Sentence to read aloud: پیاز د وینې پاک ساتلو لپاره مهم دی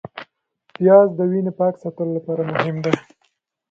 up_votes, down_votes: 3, 0